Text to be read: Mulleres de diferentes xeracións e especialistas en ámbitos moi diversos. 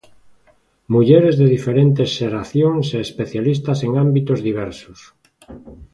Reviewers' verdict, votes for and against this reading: rejected, 1, 2